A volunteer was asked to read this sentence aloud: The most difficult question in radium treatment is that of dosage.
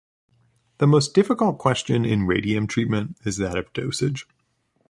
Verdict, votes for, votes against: accepted, 2, 0